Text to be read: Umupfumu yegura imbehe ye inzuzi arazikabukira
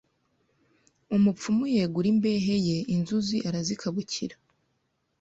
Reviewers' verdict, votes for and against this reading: accepted, 2, 0